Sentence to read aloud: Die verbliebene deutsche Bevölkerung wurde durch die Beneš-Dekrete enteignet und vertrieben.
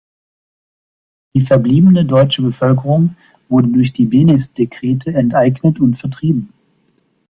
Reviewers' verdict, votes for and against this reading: accepted, 2, 0